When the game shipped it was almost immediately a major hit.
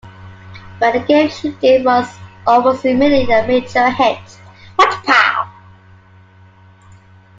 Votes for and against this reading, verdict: 0, 2, rejected